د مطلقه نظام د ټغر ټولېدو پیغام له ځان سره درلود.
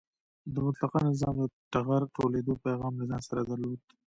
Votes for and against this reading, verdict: 2, 0, accepted